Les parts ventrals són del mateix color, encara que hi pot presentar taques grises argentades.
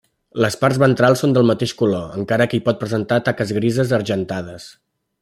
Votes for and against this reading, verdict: 3, 0, accepted